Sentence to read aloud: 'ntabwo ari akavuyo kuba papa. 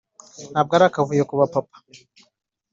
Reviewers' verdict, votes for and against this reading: accepted, 2, 0